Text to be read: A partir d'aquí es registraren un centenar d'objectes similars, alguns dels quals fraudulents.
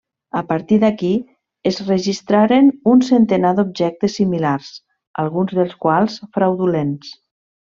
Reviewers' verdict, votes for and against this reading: accepted, 3, 0